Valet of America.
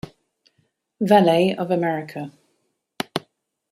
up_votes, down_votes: 2, 0